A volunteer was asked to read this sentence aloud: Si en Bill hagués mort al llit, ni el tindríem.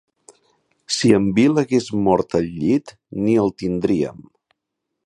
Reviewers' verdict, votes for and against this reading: accepted, 2, 0